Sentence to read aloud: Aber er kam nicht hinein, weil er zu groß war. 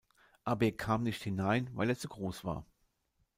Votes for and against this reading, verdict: 1, 2, rejected